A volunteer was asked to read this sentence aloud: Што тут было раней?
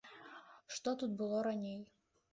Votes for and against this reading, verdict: 2, 0, accepted